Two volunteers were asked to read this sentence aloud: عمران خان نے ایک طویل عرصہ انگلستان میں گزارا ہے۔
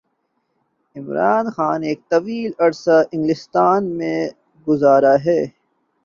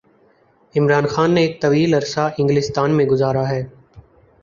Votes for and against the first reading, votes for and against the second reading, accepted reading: 1, 2, 4, 0, second